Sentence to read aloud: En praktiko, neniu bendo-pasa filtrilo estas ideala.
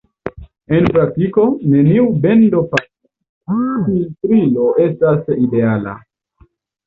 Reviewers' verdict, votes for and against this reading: rejected, 0, 2